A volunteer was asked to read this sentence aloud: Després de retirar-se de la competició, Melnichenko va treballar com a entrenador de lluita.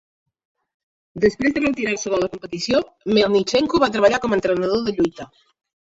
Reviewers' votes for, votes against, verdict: 1, 2, rejected